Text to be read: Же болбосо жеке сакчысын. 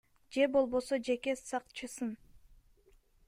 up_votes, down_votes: 1, 2